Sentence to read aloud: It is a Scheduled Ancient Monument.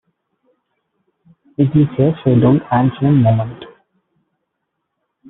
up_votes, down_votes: 0, 2